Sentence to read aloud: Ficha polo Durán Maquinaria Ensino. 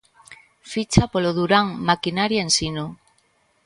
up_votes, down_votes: 2, 0